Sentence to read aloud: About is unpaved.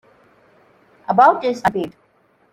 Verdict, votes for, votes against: rejected, 0, 2